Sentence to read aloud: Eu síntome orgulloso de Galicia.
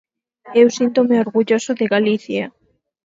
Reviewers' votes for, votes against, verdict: 2, 4, rejected